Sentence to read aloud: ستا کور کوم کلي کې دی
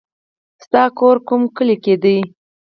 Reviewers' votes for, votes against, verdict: 4, 0, accepted